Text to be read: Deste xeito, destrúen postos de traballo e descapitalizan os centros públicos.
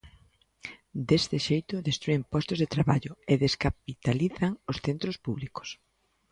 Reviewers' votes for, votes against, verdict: 2, 0, accepted